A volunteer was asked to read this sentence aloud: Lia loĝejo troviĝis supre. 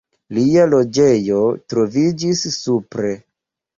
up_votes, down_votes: 2, 0